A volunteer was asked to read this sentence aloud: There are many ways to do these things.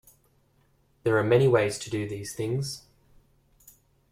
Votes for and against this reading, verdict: 0, 2, rejected